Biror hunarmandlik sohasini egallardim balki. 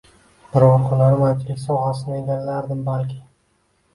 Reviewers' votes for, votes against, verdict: 2, 0, accepted